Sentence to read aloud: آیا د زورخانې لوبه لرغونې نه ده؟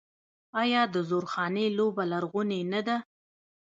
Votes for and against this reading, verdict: 0, 2, rejected